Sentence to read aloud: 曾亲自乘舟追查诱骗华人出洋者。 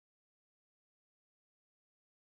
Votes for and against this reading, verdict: 2, 3, rejected